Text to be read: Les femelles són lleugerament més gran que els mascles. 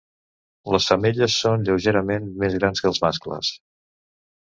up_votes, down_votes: 1, 2